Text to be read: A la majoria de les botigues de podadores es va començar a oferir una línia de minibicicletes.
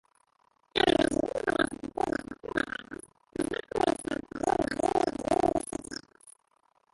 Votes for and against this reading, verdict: 0, 3, rejected